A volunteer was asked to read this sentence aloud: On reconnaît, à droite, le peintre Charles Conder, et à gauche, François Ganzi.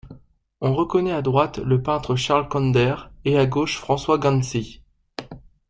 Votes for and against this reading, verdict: 2, 0, accepted